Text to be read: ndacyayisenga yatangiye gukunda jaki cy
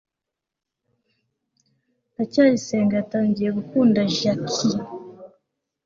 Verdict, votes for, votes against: accepted, 2, 0